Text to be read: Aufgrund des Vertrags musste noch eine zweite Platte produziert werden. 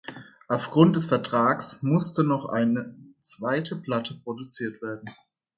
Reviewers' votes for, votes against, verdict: 2, 0, accepted